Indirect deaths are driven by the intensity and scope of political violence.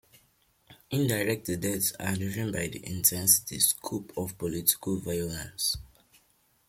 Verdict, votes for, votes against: accepted, 2, 1